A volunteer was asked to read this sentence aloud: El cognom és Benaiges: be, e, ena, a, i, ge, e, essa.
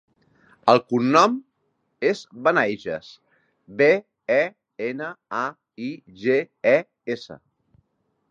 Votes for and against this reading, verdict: 2, 0, accepted